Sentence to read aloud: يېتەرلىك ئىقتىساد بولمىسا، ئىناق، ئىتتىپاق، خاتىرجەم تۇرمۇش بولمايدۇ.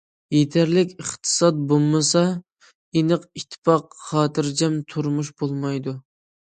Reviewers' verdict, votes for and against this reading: accepted, 2, 0